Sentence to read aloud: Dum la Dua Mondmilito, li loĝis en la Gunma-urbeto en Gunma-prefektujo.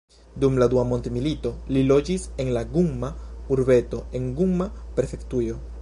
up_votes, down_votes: 1, 2